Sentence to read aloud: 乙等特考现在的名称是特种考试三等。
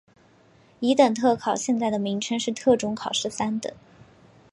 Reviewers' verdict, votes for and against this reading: accepted, 2, 0